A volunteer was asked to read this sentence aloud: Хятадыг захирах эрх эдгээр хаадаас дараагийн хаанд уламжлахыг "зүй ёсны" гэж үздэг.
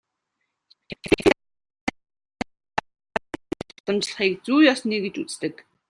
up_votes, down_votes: 0, 2